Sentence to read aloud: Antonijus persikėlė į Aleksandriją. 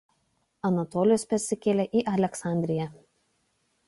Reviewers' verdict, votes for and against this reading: rejected, 0, 2